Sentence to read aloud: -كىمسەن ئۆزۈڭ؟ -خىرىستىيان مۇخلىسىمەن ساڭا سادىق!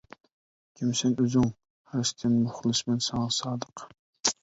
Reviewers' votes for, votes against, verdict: 1, 2, rejected